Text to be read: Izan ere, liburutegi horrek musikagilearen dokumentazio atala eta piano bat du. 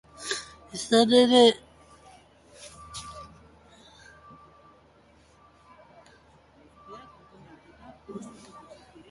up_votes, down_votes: 0, 2